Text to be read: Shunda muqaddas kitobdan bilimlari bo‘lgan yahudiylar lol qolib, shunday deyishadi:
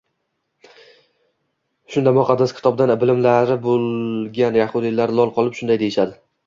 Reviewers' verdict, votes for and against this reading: rejected, 1, 2